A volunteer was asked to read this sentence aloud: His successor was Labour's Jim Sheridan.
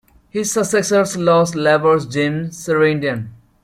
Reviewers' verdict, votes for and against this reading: rejected, 0, 2